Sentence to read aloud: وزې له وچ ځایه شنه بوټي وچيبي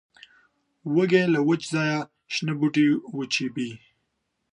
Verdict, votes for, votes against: rejected, 0, 2